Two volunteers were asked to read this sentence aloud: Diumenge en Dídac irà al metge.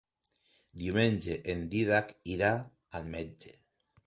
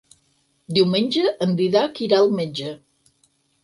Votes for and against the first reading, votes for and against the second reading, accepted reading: 2, 0, 2, 4, first